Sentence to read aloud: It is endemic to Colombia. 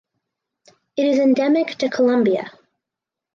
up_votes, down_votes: 4, 0